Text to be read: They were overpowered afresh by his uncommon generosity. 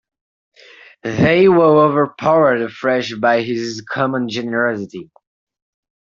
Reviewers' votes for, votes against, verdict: 0, 2, rejected